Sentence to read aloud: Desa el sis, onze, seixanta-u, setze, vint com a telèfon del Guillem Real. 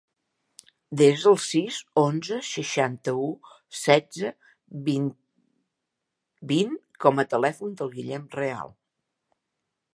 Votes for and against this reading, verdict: 0, 2, rejected